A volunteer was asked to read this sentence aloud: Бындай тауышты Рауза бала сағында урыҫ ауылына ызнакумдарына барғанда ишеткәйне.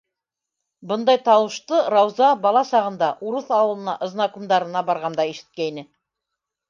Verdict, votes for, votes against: accepted, 2, 0